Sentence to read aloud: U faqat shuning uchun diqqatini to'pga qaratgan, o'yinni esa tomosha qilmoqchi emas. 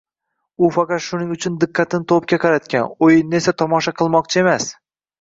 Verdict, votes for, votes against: accepted, 2, 0